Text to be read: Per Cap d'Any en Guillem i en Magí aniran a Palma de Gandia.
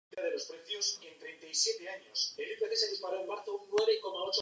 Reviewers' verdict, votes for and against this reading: rejected, 0, 2